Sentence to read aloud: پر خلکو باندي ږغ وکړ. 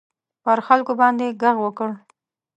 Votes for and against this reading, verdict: 2, 0, accepted